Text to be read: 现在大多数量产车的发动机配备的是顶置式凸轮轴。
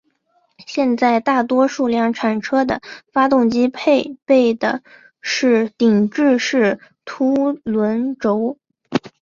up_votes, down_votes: 2, 1